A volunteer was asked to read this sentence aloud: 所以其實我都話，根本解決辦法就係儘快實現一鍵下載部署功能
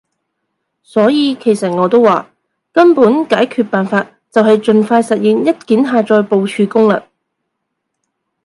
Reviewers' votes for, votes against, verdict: 2, 0, accepted